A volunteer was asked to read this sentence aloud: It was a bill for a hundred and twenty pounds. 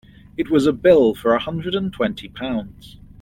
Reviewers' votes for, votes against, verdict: 2, 0, accepted